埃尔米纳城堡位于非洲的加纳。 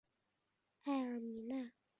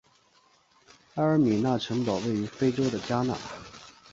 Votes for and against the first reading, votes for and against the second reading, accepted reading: 0, 4, 5, 0, second